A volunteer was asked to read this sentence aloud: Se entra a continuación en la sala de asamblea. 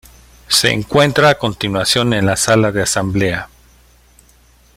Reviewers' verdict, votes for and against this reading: rejected, 0, 2